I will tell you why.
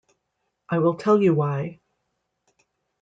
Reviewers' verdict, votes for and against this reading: accepted, 2, 1